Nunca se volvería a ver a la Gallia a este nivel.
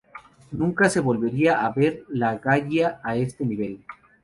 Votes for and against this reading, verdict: 0, 2, rejected